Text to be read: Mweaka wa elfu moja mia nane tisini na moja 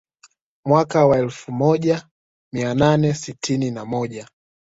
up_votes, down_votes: 2, 0